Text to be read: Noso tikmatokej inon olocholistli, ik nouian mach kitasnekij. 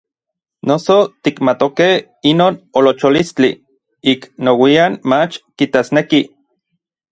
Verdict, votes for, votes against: accepted, 2, 0